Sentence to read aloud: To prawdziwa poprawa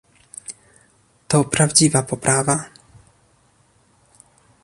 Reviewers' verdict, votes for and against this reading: accepted, 2, 0